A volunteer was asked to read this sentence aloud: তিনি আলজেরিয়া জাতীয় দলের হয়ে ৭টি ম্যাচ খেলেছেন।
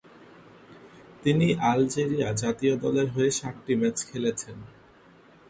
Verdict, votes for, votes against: rejected, 0, 2